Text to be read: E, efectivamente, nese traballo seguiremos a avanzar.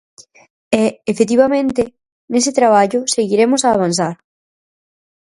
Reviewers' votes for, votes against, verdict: 4, 0, accepted